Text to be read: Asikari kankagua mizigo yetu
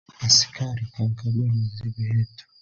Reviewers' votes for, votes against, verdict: 2, 1, accepted